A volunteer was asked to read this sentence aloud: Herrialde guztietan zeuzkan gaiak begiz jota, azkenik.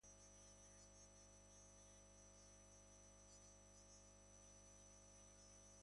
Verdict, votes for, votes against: rejected, 0, 2